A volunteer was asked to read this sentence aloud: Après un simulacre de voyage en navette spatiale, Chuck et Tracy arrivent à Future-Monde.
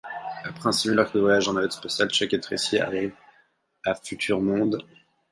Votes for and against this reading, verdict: 4, 0, accepted